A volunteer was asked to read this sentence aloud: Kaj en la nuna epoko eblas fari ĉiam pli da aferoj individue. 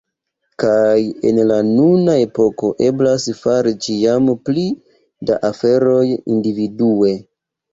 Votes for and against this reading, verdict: 1, 2, rejected